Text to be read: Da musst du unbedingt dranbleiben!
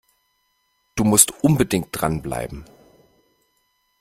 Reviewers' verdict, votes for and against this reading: rejected, 0, 2